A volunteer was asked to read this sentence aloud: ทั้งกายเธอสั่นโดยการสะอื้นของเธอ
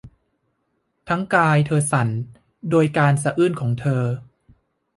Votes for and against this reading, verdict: 2, 0, accepted